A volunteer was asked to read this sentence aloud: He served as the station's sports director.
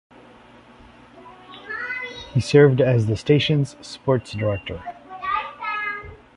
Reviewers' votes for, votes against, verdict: 3, 0, accepted